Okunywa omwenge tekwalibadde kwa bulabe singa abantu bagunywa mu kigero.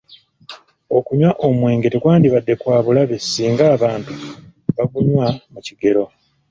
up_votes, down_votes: 2, 0